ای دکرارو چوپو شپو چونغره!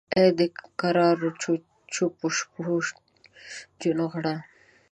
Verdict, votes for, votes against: rejected, 1, 2